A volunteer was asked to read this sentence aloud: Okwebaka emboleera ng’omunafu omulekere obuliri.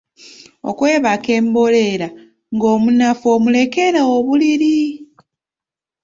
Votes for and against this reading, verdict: 0, 2, rejected